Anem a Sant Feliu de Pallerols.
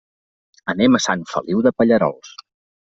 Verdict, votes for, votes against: accepted, 2, 0